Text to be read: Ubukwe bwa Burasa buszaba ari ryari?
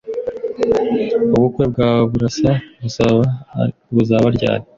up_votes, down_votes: 0, 2